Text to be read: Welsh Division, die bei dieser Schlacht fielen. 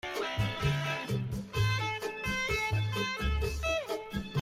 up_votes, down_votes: 0, 2